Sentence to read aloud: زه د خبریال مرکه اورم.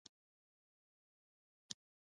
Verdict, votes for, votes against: rejected, 0, 2